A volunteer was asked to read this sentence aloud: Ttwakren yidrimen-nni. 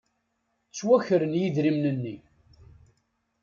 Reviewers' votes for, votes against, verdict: 2, 0, accepted